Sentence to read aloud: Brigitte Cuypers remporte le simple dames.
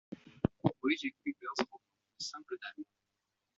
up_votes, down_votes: 0, 2